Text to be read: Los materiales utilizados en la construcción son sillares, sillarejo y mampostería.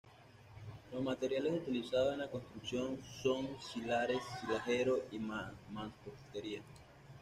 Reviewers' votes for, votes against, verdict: 0, 2, rejected